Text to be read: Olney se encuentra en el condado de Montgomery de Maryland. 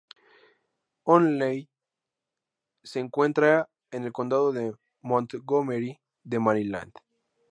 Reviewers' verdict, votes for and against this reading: rejected, 2, 2